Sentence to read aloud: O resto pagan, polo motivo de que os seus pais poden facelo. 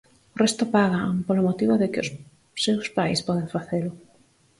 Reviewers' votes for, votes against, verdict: 4, 0, accepted